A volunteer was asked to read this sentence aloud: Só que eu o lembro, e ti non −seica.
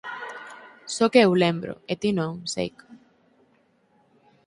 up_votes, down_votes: 2, 4